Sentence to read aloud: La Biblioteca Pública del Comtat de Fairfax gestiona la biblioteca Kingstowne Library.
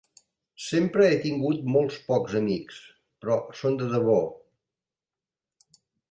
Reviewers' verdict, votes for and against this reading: rejected, 0, 3